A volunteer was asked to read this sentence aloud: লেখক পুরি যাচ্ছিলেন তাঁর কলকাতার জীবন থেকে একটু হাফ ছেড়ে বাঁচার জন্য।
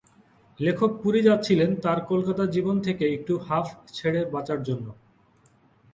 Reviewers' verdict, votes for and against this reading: accepted, 6, 1